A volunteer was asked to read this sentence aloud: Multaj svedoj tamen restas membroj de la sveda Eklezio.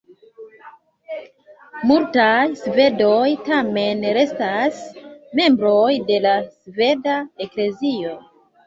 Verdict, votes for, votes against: rejected, 0, 2